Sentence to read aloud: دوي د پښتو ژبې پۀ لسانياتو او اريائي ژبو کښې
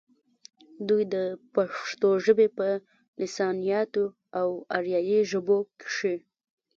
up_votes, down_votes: 1, 2